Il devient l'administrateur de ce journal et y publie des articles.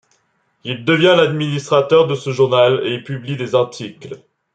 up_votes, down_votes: 2, 0